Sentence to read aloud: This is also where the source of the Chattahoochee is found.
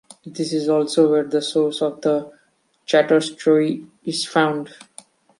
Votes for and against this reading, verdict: 1, 2, rejected